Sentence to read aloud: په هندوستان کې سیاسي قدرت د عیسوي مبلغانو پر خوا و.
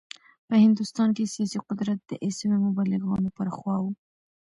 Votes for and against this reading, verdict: 2, 0, accepted